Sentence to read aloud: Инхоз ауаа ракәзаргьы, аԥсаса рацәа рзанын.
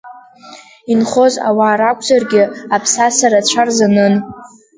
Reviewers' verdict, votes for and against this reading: accepted, 2, 0